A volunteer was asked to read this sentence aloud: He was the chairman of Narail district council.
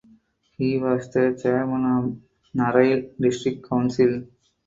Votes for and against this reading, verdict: 4, 0, accepted